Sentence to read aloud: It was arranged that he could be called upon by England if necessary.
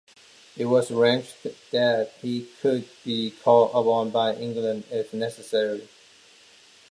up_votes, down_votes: 1, 2